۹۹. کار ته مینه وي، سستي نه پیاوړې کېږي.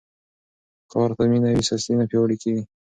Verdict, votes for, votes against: rejected, 0, 2